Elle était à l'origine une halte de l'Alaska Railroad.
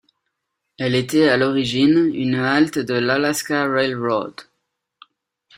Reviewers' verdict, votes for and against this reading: accepted, 2, 0